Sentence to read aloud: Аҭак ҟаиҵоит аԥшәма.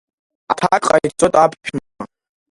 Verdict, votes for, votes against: rejected, 1, 2